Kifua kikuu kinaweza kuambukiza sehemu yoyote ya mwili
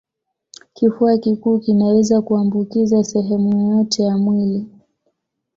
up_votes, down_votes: 2, 0